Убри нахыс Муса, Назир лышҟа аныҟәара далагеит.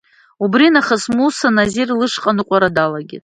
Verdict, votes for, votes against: accepted, 2, 0